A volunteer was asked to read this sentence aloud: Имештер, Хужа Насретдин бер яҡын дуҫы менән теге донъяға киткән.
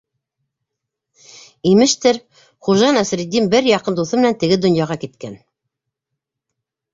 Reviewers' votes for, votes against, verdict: 2, 0, accepted